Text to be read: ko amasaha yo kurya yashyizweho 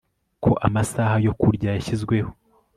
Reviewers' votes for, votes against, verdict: 3, 0, accepted